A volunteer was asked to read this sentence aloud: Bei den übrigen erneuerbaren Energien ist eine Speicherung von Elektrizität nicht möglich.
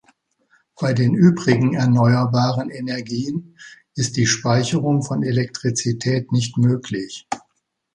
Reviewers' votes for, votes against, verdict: 0, 2, rejected